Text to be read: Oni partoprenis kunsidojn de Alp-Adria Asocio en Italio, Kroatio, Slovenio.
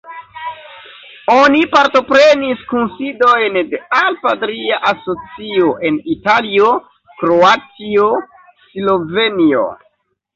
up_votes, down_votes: 1, 2